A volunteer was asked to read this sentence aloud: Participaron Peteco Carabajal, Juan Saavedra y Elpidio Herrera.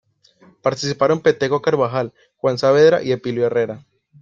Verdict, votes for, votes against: accepted, 2, 0